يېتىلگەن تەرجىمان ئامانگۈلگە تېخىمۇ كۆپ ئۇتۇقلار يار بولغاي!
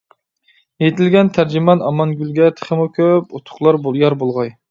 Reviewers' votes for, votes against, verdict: 1, 2, rejected